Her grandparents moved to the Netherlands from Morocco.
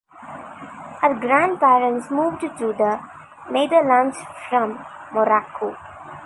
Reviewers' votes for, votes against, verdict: 1, 2, rejected